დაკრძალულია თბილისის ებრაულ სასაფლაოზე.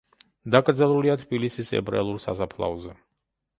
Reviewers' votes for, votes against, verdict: 0, 2, rejected